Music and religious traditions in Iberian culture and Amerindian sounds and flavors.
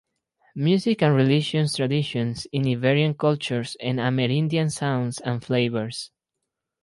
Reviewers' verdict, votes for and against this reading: rejected, 0, 4